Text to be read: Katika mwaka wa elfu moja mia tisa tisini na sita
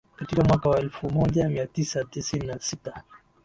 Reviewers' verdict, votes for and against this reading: accepted, 2, 1